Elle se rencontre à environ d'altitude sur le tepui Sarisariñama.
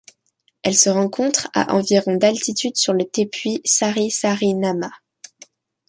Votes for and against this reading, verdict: 2, 0, accepted